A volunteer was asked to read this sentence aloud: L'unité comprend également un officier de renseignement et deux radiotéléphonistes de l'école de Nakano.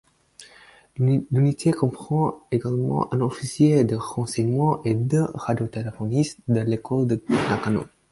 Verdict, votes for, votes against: rejected, 4, 6